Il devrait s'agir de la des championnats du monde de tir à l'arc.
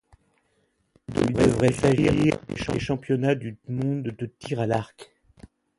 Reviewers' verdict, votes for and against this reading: rejected, 1, 2